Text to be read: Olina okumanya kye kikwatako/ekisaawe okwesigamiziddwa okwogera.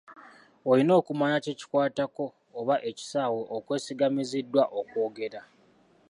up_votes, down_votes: 0, 2